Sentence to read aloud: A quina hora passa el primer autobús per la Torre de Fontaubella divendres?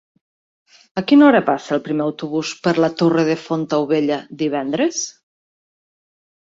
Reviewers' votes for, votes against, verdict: 3, 0, accepted